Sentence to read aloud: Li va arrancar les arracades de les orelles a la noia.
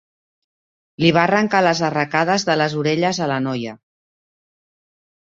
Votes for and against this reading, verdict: 2, 0, accepted